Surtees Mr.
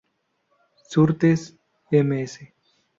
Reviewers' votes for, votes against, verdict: 0, 2, rejected